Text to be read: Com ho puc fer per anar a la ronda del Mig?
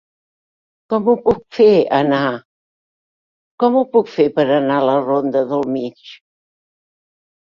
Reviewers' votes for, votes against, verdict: 0, 2, rejected